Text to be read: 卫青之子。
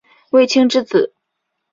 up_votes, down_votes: 4, 1